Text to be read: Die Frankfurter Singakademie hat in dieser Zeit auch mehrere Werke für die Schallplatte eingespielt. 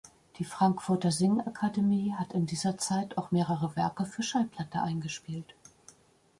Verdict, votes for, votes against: rejected, 0, 2